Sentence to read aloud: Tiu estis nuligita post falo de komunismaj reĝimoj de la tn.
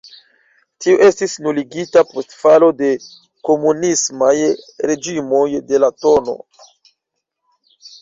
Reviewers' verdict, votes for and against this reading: accepted, 2, 0